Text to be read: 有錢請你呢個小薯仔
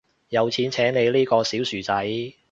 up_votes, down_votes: 2, 0